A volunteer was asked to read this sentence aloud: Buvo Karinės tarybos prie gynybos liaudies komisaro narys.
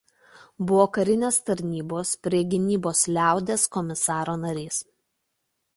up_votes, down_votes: 1, 2